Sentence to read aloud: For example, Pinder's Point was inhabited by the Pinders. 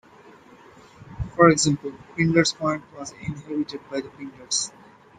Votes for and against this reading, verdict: 2, 0, accepted